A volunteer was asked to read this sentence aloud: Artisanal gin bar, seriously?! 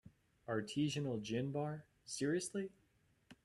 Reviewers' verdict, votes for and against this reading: accepted, 2, 0